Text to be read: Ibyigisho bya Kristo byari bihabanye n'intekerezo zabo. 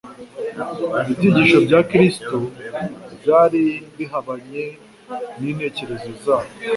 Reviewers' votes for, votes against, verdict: 2, 0, accepted